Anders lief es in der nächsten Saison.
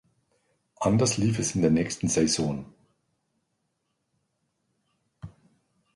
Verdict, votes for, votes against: accepted, 2, 0